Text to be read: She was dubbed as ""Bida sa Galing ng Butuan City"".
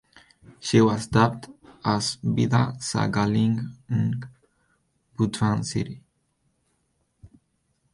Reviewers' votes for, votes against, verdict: 4, 2, accepted